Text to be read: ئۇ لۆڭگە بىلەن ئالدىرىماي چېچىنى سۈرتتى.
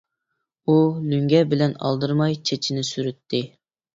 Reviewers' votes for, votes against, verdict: 4, 0, accepted